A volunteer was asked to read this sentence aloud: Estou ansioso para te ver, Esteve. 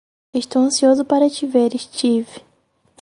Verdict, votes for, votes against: rejected, 2, 4